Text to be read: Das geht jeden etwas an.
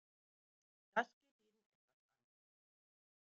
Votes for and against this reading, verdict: 0, 2, rejected